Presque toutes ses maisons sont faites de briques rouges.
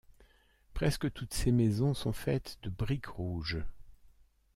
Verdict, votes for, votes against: rejected, 1, 2